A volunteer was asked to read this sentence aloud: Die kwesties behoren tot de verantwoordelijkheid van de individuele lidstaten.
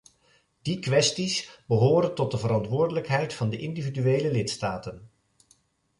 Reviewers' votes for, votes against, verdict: 3, 0, accepted